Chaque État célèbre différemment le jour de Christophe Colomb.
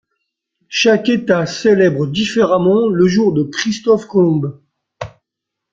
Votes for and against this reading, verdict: 1, 2, rejected